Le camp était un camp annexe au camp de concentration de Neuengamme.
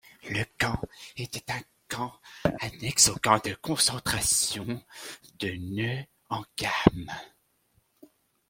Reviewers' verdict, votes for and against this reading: accepted, 2, 1